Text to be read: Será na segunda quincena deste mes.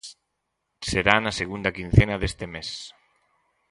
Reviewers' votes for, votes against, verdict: 4, 0, accepted